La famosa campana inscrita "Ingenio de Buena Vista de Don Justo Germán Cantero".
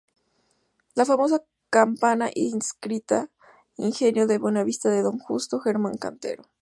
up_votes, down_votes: 2, 2